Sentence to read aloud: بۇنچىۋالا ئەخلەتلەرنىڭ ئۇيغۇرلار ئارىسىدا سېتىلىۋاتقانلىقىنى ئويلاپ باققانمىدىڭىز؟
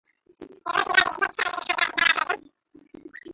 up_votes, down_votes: 0, 2